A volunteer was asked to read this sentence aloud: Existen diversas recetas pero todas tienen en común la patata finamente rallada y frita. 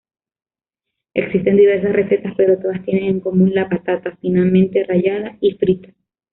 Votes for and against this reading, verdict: 0, 2, rejected